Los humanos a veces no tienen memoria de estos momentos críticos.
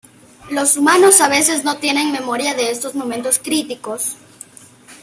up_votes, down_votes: 2, 0